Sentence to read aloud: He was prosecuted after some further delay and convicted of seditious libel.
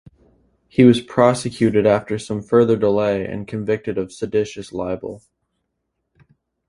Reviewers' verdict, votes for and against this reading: accepted, 2, 0